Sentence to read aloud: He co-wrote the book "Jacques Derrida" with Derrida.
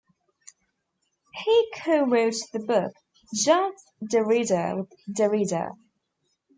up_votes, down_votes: 1, 2